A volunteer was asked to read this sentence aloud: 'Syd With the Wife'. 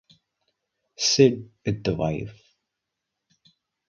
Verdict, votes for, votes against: rejected, 10, 10